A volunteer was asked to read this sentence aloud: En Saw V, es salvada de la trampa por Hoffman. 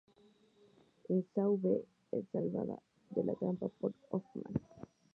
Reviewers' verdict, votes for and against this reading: accepted, 4, 2